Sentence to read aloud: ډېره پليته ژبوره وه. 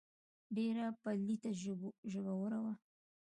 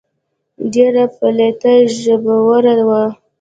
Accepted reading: first